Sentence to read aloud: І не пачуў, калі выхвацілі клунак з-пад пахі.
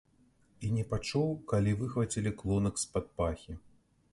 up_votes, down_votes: 3, 0